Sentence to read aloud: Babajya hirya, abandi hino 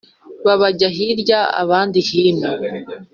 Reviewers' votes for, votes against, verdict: 2, 0, accepted